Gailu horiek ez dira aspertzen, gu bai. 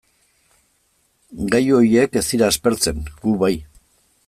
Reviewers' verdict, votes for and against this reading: rejected, 0, 2